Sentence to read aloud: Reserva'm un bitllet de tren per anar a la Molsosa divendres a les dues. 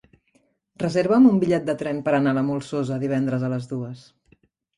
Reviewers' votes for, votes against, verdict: 2, 0, accepted